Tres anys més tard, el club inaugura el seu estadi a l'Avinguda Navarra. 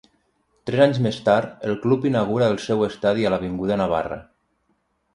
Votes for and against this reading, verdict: 3, 3, rejected